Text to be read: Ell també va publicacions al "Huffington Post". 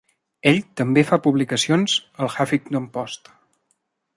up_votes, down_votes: 0, 2